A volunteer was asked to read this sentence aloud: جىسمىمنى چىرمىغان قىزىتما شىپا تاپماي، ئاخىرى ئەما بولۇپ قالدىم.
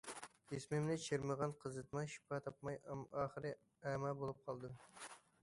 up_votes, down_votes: 0, 2